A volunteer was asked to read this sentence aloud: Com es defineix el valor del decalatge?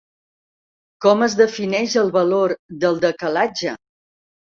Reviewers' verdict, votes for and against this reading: accepted, 4, 0